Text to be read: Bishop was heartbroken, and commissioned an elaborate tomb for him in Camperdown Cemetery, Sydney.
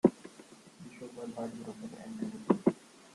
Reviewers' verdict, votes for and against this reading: rejected, 0, 2